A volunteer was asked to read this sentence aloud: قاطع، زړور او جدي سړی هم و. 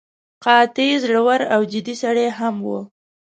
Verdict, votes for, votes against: accepted, 2, 0